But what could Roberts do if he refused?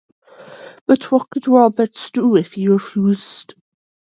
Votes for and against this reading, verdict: 0, 2, rejected